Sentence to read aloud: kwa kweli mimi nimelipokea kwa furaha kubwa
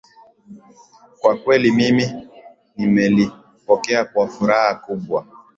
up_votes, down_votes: 2, 0